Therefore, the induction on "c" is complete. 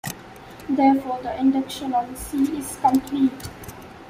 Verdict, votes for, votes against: rejected, 1, 2